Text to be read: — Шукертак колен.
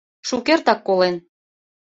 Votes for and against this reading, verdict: 2, 0, accepted